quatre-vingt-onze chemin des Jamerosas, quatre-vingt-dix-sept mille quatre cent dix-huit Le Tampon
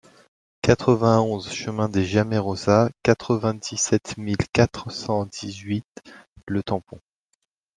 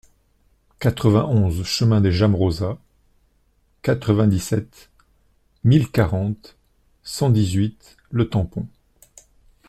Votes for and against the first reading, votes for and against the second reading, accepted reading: 2, 0, 0, 2, first